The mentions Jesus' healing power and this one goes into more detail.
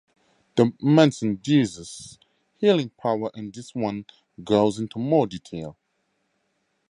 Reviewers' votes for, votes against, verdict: 0, 2, rejected